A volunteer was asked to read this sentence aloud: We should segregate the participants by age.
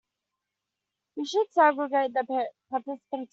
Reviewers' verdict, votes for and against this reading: rejected, 1, 2